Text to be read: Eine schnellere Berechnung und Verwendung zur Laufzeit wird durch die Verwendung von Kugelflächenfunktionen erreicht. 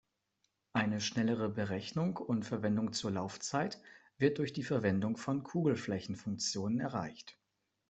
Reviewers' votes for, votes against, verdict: 2, 0, accepted